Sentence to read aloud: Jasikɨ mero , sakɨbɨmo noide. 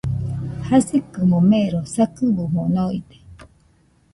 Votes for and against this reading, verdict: 1, 2, rejected